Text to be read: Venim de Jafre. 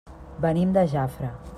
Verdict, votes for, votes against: accepted, 3, 0